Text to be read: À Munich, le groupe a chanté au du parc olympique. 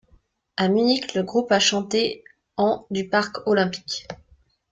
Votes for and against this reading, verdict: 0, 2, rejected